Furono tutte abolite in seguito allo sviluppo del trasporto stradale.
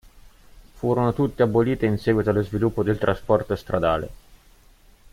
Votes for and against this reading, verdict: 1, 2, rejected